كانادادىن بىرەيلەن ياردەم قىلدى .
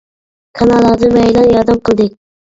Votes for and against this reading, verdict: 1, 2, rejected